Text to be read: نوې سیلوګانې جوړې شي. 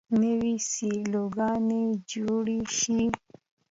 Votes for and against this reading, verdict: 2, 0, accepted